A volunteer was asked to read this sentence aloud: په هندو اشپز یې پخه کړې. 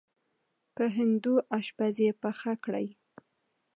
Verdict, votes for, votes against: accepted, 2, 0